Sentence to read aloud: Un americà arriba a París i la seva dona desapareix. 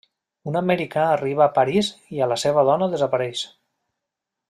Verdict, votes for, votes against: rejected, 1, 2